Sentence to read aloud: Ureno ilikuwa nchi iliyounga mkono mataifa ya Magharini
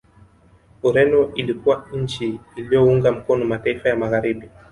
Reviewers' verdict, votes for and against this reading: rejected, 0, 2